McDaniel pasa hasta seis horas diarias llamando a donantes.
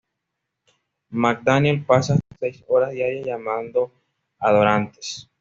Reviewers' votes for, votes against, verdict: 2, 0, accepted